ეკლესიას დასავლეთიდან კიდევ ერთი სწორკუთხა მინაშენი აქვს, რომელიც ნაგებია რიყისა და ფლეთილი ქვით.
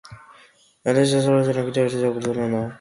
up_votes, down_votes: 0, 2